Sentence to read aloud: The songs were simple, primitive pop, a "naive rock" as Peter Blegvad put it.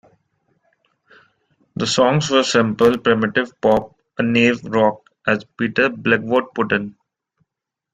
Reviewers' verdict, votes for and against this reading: rejected, 0, 3